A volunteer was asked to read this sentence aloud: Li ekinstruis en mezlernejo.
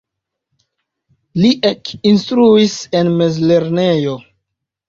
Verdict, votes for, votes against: rejected, 0, 2